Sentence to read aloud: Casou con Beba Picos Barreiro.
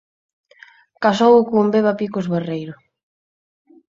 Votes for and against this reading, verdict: 6, 0, accepted